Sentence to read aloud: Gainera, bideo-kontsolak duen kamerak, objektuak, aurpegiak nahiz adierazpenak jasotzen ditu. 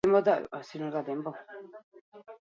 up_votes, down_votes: 0, 8